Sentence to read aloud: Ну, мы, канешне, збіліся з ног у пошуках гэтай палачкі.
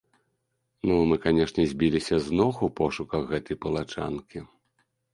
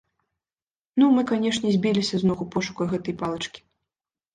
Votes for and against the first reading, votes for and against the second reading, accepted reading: 0, 2, 2, 0, second